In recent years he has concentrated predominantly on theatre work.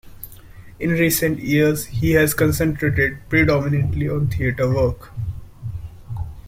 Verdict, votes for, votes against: accepted, 2, 0